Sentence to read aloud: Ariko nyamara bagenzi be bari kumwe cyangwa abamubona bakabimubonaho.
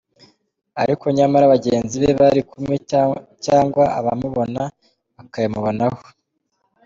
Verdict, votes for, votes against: rejected, 1, 2